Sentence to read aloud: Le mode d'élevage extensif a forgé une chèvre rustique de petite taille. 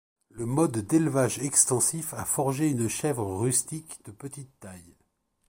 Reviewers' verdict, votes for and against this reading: rejected, 1, 2